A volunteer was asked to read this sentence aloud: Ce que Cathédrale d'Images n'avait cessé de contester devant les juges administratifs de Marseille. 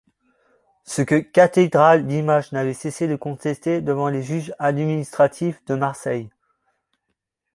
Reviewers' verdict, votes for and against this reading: accepted, 2, 0